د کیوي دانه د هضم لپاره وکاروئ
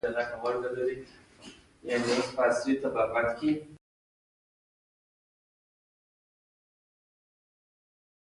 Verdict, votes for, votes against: rejected, 1, 2